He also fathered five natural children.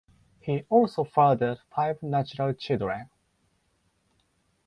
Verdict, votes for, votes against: accepted, 4, 0